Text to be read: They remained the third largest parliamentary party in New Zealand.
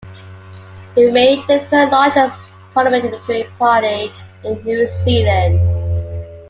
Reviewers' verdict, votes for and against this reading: accepted, 2, 1